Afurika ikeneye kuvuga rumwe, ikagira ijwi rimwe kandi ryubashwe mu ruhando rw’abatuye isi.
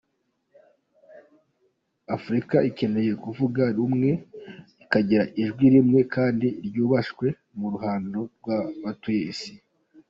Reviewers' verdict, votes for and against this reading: rejected, 0, 2